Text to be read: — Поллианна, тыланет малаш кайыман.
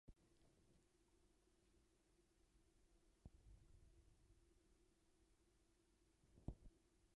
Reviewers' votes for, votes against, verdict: 0, 2, rejected